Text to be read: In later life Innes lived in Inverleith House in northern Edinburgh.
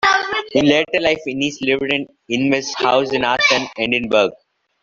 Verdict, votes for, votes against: rejected, 0, 2